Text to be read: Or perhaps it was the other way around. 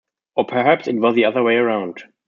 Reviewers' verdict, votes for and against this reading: accepted, 2, 0